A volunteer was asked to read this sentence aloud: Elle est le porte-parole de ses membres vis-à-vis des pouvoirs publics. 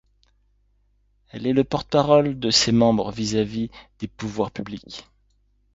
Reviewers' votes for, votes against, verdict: 2, 0, accepted